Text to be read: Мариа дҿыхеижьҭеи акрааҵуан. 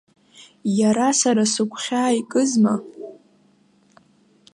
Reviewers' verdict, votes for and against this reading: rejected, 0, 2